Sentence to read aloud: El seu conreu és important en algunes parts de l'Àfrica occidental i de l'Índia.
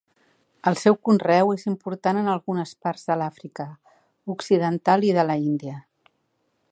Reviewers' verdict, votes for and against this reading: rejected, 0, 2